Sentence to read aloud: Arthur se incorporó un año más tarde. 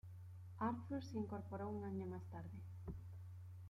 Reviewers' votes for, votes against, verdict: 2, 0, accepted